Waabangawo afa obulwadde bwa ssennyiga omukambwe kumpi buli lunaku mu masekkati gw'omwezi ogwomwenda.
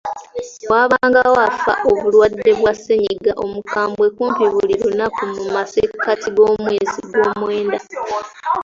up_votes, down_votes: 2, 1